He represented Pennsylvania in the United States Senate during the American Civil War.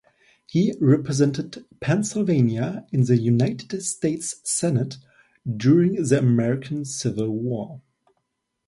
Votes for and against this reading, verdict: 2, 0, accepted